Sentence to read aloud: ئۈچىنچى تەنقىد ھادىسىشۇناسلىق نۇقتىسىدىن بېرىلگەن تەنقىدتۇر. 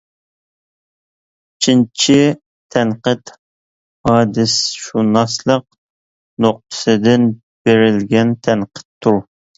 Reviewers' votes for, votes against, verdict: 0, 2, rejected